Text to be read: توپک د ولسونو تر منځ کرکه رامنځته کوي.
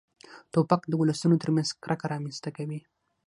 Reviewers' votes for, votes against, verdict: 3, 6, rejected